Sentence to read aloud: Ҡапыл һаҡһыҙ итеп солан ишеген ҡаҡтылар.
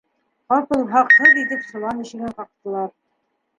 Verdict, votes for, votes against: rejected, 2, 3